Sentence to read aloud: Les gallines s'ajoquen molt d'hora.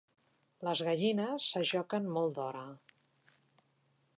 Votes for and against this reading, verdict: 3, 0, accepted